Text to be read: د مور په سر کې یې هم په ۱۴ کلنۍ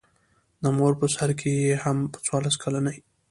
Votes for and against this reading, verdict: 0, 2, rejected